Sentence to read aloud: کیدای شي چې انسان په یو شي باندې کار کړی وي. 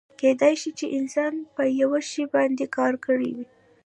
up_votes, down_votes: 1, 2